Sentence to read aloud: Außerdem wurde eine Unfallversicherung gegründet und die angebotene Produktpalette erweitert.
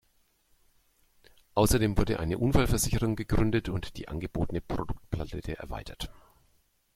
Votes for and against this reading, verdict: 1, 2, rejected